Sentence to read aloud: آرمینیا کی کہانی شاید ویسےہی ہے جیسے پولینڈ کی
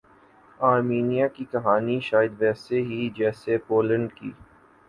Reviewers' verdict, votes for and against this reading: accepted, 5, 0